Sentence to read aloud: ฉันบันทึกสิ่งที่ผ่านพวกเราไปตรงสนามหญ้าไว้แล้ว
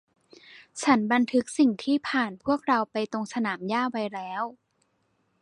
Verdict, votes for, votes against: rejected, 1, 2